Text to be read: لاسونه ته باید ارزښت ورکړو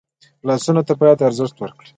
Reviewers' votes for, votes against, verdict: 1, 2, rejected